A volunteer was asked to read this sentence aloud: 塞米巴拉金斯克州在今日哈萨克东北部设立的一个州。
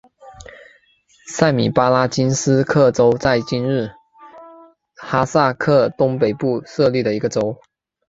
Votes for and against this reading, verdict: 7, 1, accepted